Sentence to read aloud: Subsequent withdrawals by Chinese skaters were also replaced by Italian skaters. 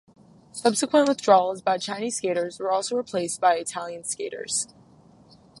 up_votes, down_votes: 4, 0